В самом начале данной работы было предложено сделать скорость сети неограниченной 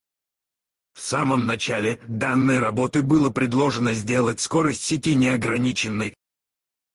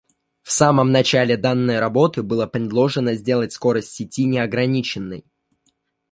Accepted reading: second